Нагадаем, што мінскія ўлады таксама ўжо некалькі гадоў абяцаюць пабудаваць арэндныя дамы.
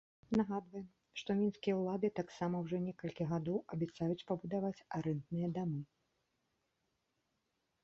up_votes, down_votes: 0, 2